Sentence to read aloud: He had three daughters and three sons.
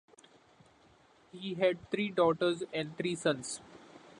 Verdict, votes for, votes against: accepted, 2, 0